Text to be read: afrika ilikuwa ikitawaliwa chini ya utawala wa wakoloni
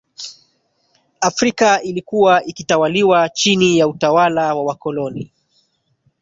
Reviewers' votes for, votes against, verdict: 2, 1, accepted